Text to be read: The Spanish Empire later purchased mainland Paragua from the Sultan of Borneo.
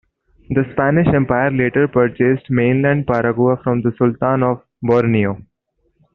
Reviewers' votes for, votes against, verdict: 2, 0, accepted